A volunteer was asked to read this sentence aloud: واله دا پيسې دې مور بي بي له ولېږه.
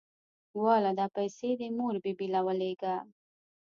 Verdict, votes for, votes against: accepted, 3, 0